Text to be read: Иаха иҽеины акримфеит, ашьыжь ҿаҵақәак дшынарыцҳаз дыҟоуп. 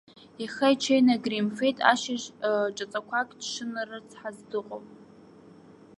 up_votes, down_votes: 0, 2